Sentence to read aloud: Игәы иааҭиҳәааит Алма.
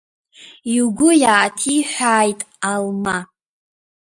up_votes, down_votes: 0, 2